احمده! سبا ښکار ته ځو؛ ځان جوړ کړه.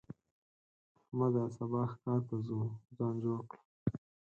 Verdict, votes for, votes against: accepted, 4, 2